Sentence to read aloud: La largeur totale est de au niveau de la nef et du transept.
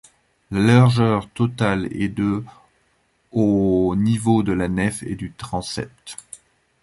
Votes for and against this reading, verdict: 1, 2, rejected